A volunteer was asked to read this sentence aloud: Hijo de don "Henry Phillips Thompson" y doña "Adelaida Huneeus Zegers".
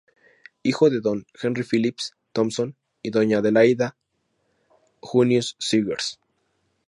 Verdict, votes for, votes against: accepted, 2, 0